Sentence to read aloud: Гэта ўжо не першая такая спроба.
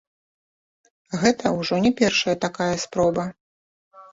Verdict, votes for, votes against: accepted, 2, 0